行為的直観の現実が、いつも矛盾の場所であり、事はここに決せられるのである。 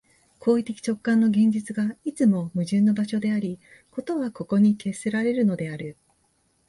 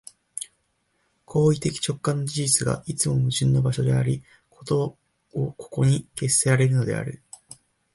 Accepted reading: first